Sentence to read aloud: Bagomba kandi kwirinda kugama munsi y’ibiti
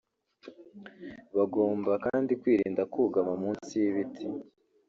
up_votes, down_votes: 1, 2